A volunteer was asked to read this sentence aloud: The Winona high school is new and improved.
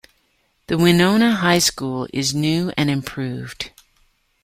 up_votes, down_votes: 2, 0